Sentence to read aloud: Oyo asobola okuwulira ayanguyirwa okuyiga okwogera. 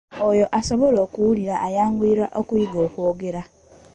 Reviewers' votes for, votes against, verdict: 2, 0, accepted